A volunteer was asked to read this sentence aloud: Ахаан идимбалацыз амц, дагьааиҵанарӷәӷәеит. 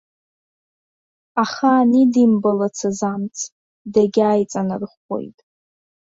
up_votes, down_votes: 1, 2